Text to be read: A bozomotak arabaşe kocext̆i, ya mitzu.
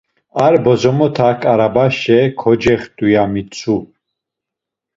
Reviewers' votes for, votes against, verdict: 1, 2, rejected